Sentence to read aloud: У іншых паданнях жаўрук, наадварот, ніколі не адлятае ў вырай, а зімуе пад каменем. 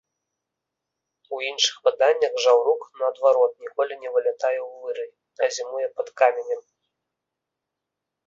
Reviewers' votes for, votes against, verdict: 2, 3, rejected